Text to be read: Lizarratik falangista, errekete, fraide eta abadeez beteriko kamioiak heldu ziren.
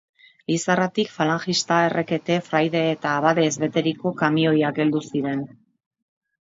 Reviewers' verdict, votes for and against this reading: accepted, 4, 0